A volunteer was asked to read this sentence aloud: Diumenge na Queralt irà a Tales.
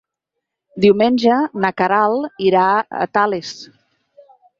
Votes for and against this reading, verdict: 8, 0, accepted